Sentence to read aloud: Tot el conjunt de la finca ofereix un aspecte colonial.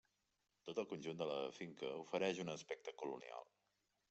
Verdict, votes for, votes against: accepted, 4, 2